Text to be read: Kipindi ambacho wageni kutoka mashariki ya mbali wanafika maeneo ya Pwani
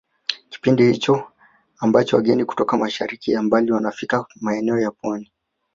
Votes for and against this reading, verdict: 1, 2, rejected